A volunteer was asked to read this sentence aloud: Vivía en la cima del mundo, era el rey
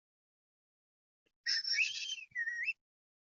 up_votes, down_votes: 0, 2